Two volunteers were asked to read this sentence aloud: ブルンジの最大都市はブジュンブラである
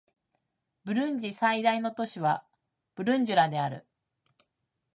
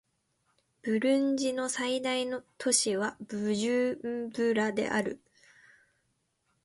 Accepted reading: second